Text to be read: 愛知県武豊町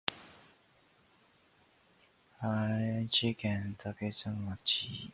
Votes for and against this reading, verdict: 0, 2, rejected